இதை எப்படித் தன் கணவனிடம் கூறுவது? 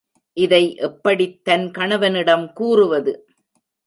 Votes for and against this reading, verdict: 2, 0, accepted